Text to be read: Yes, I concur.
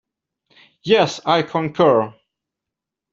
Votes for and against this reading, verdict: 2, 0, accepted